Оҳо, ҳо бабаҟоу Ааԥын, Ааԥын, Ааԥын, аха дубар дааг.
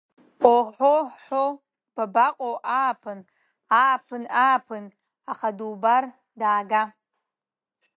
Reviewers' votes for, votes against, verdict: 0, 2, rejected